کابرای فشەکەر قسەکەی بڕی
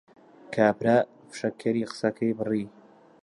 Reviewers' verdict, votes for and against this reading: rejected, 0, 2